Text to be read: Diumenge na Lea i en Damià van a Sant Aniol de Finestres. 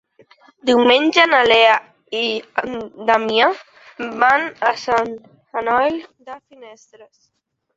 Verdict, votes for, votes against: rejected, 1, 2